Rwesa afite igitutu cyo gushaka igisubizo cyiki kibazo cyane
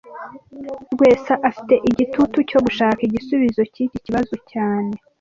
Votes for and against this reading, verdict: 2, 0, accepted